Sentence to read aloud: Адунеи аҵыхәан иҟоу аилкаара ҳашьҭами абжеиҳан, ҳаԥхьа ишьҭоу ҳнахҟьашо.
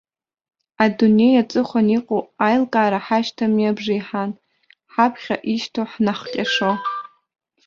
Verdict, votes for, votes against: rejected, 0, 2